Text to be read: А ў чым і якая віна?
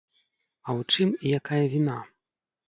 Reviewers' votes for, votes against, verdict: 2, 0, accepted